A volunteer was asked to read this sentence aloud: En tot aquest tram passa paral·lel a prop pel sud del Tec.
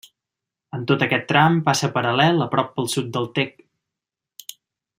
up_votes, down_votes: 2, 0